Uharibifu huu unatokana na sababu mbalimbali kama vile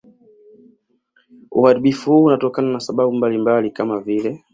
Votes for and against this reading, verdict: 1, 2, rejected